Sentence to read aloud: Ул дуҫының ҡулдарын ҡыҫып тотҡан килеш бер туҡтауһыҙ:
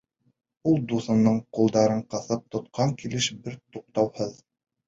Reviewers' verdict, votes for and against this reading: accepted, 2, 0